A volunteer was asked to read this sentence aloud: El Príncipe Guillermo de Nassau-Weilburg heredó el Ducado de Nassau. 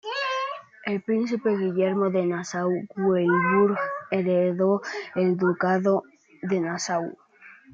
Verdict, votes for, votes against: accepted, 2, 0